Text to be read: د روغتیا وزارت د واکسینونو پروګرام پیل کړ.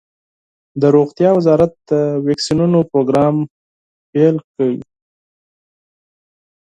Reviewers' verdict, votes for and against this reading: rejected, 2, 4